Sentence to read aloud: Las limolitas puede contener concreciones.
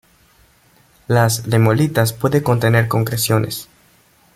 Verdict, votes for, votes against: rejected, 0, 2